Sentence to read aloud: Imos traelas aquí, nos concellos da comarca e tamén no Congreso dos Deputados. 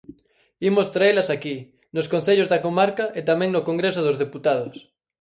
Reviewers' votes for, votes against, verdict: 4, 0, accepted